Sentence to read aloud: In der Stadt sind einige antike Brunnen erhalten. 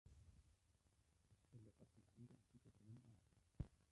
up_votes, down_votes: 0, 2